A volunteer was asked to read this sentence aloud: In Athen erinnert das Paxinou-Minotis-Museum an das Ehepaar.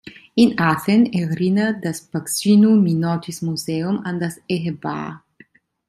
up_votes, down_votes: 0, 2